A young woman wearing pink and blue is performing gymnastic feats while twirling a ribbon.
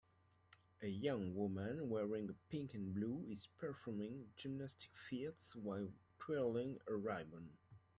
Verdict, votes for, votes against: accepted, 2, 1